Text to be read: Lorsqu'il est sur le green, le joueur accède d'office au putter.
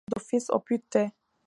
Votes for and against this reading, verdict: 0, 2, rejected